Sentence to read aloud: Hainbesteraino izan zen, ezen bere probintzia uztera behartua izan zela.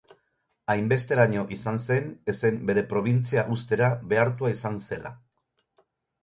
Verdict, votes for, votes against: accepted, 8, 0